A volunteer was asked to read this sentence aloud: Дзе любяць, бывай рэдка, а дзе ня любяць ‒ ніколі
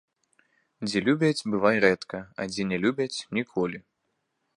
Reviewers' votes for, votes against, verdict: 2, 0, accepted